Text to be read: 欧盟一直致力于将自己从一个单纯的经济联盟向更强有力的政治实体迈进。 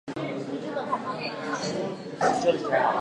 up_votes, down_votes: 0, 3